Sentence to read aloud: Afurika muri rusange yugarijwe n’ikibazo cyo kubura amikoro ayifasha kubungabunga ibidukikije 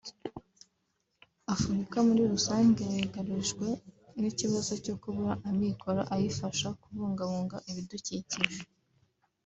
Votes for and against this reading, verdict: 3, 1, accepted